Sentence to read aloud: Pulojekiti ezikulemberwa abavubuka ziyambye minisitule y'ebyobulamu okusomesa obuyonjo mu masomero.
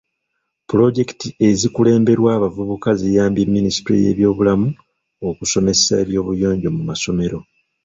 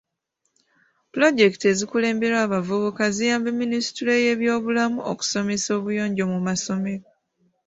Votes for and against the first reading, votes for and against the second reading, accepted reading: 0, 2, 2, 0, second